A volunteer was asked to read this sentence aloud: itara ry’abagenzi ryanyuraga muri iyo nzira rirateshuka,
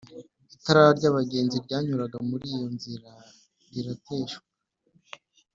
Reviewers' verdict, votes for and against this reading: accepted, 2, 0